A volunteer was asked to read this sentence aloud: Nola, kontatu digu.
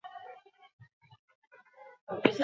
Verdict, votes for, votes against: rejected, 0, 4